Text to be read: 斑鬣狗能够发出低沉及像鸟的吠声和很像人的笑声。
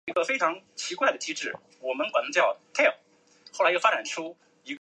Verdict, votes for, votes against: accepted, 2, 0